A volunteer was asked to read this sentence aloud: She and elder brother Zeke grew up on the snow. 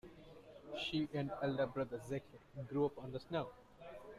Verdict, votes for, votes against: accepted, 2, 1